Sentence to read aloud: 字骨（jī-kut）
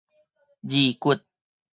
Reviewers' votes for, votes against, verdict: 4, 0, accepted